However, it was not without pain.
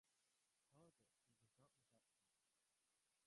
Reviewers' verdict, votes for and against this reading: rejected, 0, 2